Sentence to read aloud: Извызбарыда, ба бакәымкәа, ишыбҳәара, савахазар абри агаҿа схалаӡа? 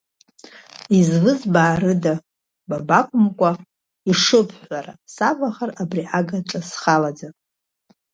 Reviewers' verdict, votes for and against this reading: rejected, 1, 2